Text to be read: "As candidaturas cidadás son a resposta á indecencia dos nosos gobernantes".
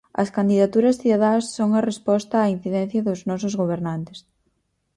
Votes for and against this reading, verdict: 0, 4, rejected